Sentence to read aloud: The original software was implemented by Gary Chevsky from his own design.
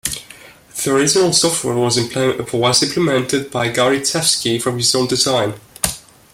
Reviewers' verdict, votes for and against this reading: rejected, 0, 2